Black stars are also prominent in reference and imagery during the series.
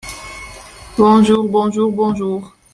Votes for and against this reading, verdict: 0, 2, rejected